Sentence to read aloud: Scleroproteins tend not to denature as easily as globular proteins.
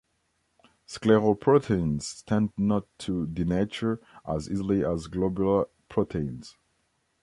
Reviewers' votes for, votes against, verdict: 1, 2, rejected